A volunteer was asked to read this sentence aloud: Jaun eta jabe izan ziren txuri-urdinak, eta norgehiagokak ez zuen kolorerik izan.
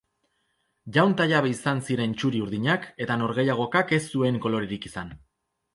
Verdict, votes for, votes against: rejected, 0, 2